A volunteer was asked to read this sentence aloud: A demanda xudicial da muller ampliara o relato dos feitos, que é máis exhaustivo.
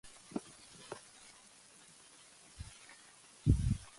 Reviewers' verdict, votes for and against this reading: rejected, 0, 2